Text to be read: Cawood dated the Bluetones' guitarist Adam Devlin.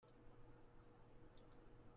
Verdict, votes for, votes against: rejected, 0, 2